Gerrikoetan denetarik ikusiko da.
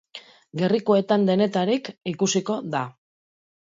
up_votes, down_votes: 2, 0